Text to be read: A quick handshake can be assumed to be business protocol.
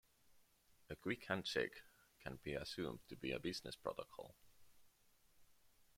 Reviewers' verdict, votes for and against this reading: rejected, 0, 2